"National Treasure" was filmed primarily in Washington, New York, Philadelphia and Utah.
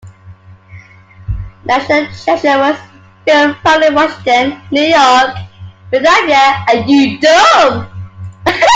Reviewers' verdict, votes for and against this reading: rejected, 0, 2